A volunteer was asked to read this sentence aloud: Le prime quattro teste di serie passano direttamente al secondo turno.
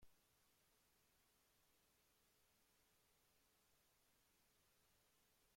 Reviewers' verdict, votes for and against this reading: rejected, 0, 2